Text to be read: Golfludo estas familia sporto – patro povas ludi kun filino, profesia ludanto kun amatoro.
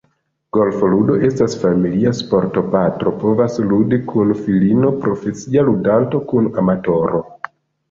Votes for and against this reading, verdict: 2, 0, accepted